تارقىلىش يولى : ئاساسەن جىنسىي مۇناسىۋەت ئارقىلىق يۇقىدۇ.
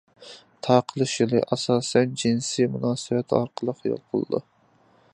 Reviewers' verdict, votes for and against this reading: rejected, 0, 2